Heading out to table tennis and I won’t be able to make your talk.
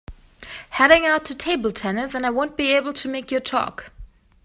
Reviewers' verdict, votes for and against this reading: accepted, 2, 0